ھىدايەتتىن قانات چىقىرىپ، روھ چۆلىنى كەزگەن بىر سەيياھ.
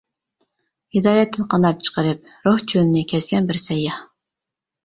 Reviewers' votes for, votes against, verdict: 2, 1, accepted